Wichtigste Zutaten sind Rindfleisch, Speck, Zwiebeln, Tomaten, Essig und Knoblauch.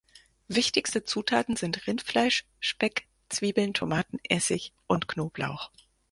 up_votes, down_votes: 4, 0